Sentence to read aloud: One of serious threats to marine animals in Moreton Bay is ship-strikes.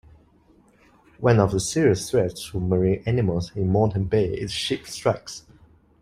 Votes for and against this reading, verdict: 2, 0, accepted